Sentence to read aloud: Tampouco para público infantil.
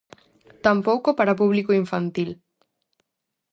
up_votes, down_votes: 2, 2